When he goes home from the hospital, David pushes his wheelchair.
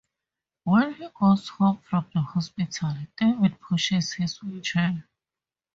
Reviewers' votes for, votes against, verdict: 2, 0, accepted